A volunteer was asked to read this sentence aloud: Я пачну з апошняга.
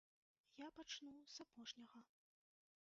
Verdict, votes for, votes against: accepted, 2, 1